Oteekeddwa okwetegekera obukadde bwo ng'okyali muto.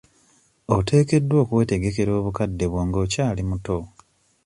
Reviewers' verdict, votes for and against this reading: accepted, 2, 0